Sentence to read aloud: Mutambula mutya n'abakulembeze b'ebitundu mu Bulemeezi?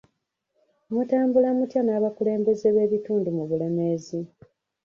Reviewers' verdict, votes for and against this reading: rejected, 1, 2